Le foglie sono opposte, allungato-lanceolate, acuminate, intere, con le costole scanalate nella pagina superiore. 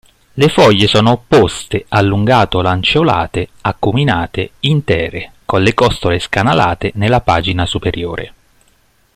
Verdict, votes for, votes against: accepted, 2, 0